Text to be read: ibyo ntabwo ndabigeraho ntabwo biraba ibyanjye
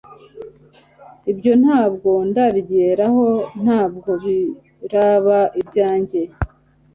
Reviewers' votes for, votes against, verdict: 2, 0, accepted